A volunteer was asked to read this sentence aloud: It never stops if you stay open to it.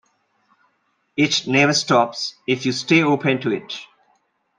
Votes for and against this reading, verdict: 2, 0, accepted